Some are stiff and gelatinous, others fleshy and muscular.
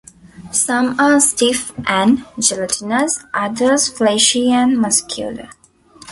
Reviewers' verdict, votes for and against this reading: accepted, 2, 1